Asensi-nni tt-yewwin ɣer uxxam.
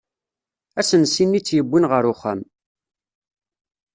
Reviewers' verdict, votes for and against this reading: accepted, 2, 0